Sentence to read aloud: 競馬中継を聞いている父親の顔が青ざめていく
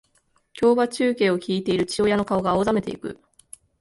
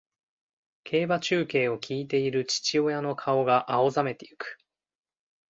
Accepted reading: second